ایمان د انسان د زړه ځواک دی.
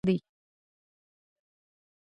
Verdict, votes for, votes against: rejected, 1, 2